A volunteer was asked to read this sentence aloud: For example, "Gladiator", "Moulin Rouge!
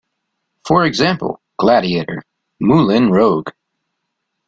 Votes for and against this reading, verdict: 0, 2, rejected